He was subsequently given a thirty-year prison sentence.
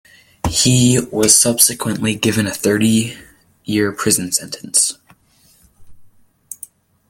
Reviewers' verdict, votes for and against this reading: accepted, 2, 1